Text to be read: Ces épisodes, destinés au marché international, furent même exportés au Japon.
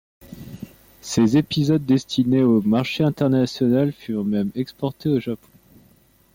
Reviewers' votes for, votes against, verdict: 2, 0, accepted